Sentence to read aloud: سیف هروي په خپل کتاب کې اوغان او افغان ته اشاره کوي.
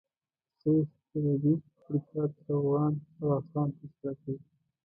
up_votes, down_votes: 0, 2